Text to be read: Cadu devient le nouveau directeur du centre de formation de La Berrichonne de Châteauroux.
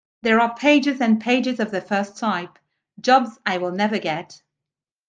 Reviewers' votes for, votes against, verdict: 0, 2, rejected